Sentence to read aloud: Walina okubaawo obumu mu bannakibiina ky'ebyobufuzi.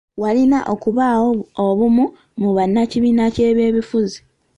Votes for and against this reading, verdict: 2, 1, accepted